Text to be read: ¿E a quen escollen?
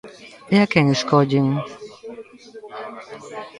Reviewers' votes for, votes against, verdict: 0, 2, rejected